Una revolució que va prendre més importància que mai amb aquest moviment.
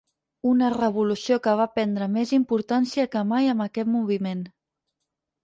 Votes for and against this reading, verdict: 6, 0, accepted